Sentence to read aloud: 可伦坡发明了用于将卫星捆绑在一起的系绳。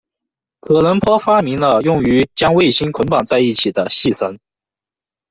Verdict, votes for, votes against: accepted, 2, 0